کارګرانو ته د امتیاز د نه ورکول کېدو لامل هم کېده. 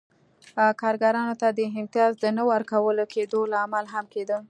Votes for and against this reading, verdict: 2, 0, accepted